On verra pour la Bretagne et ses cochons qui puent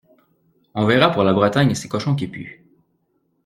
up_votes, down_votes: 2, 0